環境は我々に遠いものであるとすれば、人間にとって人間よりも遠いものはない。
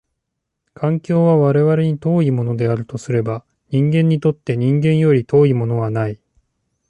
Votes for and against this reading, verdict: 1, 2, rejected